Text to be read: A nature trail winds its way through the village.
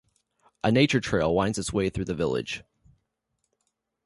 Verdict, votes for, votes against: accepted, 2, 0